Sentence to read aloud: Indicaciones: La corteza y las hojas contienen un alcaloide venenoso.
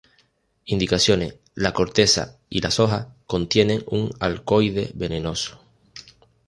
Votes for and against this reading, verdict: 0, 2, rejected